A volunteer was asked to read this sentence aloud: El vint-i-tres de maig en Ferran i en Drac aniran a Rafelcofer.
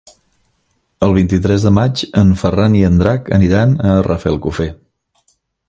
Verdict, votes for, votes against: accepted, 3, 0